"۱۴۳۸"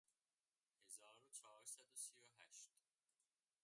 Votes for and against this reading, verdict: 0, 2, rejected